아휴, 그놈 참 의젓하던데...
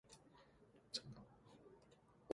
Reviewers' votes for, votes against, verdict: 0, 2, rejected